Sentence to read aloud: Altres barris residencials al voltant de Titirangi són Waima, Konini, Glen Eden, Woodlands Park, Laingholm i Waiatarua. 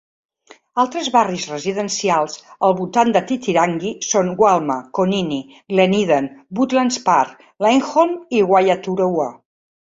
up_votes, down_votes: 1, 2